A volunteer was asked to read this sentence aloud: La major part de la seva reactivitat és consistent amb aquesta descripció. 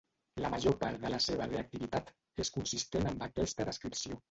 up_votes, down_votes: 0, 2